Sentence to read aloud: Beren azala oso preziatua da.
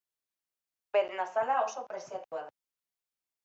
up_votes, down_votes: 2, 0